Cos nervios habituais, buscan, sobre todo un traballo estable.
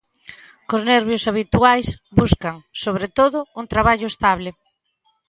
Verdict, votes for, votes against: accepted, 2, 0